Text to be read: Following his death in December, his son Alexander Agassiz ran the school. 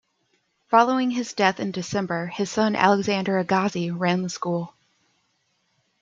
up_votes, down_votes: 2, 0